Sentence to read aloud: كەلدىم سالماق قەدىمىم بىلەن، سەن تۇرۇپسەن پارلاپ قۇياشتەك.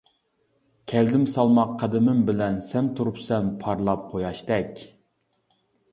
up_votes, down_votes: 2, 1